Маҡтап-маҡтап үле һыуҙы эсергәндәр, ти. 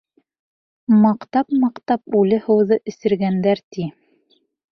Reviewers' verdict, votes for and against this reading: accepted, 2, 0